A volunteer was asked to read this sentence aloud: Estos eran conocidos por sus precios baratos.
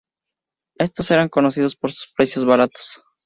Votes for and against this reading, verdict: 2, 0, accepted